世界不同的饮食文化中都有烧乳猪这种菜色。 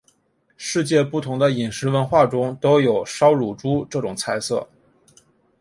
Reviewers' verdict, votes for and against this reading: accepted, 2, 0